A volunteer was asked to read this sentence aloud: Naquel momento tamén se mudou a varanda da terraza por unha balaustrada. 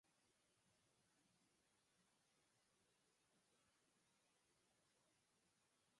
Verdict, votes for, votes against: rejected, 0, 4